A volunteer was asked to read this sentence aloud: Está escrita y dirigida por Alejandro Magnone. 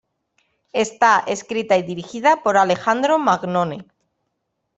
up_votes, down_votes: 2, 0